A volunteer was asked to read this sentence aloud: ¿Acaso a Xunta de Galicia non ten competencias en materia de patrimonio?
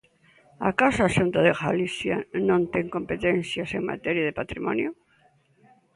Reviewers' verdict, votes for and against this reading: accepted, 2, 0